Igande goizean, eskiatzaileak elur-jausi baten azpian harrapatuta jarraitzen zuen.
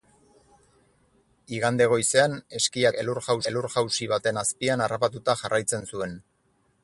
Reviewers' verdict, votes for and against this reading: rejected, 2, 4